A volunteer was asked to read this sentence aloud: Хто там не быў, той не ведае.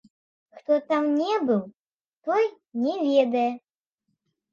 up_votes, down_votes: 2, 0